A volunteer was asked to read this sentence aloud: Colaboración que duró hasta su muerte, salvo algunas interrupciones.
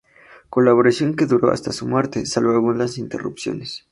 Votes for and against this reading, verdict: 6, 0, accepted